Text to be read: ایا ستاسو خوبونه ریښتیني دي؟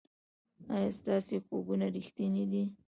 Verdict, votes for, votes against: rejected, 0, 2